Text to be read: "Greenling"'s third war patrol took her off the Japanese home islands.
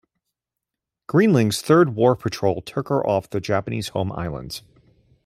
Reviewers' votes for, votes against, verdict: 2, 1, accepted